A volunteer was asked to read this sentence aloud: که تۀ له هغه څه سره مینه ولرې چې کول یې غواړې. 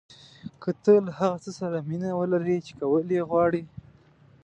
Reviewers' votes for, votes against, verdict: 2, 0, accepted